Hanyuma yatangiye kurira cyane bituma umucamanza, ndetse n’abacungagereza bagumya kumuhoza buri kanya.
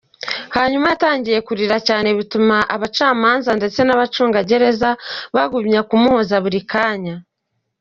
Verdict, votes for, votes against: rejected, 0, 2